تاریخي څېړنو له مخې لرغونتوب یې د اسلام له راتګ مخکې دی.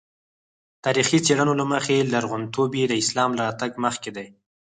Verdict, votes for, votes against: rejected, 2, 4